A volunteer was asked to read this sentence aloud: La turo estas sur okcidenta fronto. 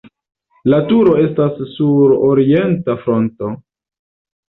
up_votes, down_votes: 1, 2